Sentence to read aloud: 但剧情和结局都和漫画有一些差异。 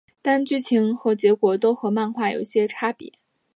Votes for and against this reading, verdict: 2, 1, accepted